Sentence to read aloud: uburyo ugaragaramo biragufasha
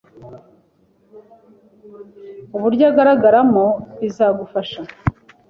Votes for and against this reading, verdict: 2, 1, accepted